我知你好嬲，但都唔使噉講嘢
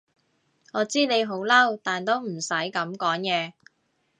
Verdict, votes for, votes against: accepted, 2, 0